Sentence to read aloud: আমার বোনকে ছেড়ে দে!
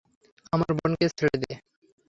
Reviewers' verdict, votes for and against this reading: rejected, 0, 3